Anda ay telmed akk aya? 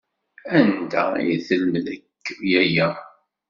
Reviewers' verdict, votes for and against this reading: accepted, 2, 1